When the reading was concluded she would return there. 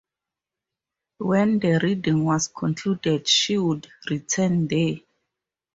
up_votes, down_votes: 0, 2